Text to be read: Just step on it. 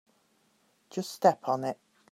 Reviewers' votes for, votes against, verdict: 2, 0, accepted